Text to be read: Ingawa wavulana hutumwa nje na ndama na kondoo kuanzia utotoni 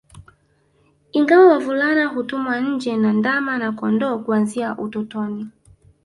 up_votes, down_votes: 0, 2